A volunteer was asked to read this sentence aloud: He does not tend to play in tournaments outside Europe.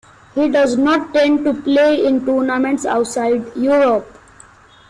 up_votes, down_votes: 2, 1